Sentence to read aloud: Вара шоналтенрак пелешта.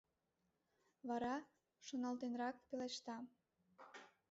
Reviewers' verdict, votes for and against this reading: rejected, 0, 2